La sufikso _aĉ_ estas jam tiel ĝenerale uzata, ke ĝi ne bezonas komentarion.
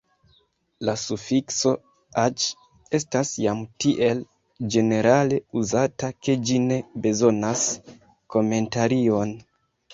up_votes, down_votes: 2, 0